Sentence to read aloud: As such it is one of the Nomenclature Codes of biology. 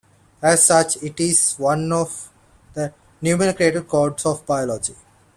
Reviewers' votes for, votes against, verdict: 1, 2, rejected